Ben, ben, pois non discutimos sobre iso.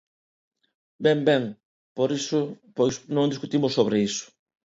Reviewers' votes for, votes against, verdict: 0, 2, rejected